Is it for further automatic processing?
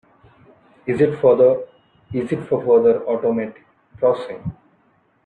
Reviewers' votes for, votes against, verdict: 0, 2, rejected